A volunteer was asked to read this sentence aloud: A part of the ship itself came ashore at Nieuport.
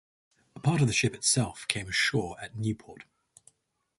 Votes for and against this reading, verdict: 4, 0, accepted